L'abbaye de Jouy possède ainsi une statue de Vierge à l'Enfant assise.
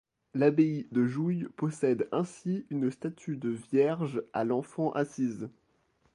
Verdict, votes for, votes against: accepted, 2, 0